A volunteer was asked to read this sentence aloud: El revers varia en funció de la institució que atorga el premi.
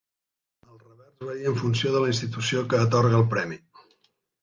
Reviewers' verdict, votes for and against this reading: rejected, 1, 2